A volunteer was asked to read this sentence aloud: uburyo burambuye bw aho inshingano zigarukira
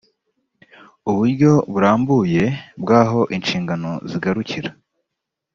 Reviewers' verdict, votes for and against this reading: accepted, 2, 0